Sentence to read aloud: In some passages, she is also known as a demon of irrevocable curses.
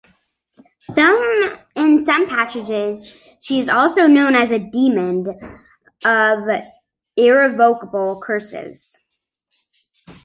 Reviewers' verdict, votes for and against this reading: rejected, 0, 2